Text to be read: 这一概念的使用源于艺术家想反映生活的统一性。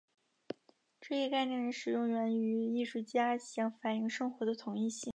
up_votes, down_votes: 3, 0